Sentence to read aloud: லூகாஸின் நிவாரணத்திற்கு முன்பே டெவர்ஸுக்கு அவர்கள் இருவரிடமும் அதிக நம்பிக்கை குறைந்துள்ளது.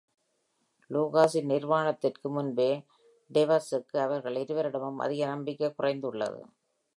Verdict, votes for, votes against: accepted, 2, 0